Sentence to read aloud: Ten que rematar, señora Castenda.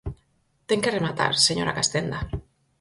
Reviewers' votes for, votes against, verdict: 4, 0, accepted